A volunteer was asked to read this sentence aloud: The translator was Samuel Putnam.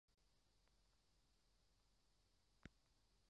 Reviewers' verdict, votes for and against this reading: rejected, 0, 2